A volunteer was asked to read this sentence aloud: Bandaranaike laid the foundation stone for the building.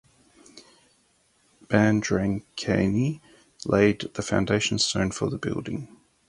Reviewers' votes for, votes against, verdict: 0, 4, rejected